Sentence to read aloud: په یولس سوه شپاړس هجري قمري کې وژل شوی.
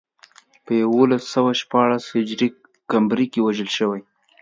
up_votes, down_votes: 2, 0